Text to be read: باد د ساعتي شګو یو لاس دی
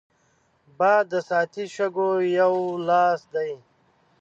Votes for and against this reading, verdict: 3, 0, accepted